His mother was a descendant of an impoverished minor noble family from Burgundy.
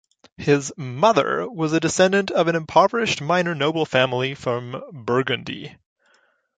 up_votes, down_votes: 2, 0